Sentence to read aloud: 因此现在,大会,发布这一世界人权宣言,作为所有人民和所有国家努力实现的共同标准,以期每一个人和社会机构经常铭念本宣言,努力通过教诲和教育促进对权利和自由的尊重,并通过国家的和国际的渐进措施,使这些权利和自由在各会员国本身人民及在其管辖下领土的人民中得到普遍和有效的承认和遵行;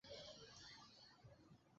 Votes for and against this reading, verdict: 0, 2, rejected